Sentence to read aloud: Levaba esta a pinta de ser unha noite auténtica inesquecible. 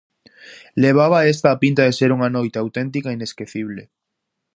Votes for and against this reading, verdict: 2, 0, accepted